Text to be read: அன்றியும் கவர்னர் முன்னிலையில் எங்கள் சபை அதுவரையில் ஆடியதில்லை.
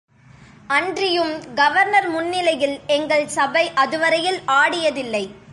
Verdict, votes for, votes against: accepted, 2, 0